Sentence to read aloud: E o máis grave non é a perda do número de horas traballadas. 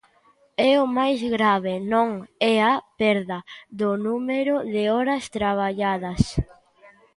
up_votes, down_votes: 0, 2